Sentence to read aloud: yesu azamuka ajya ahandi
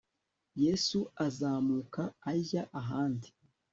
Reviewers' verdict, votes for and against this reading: accepted, 3, 0